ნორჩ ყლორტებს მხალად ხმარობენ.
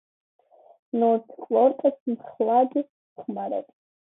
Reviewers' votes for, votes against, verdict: 2, 0, accepted